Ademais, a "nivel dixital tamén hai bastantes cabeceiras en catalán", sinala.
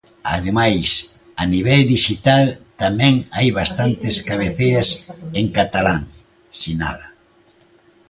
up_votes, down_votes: 2, 0